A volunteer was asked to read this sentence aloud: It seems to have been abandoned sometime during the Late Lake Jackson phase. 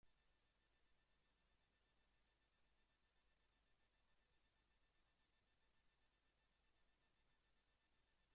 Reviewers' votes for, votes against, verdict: 0, 2, rejected